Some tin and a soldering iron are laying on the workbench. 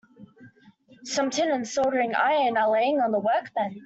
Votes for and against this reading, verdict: 0, 2, rejected